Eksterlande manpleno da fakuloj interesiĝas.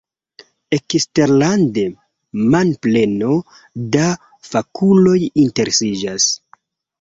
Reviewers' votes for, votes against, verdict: 2, 0, accepted